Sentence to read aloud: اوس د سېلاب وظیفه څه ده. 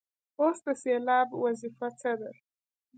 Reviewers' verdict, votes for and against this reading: rejected, 0, 2